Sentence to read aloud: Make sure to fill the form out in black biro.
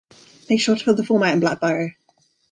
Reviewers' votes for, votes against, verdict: 2, 0, accepted